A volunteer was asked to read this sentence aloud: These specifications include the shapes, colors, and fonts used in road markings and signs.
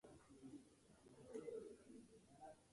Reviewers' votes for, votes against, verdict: 0, 3, rejected